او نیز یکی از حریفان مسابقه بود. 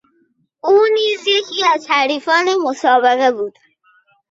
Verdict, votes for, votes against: accepted, 2, 0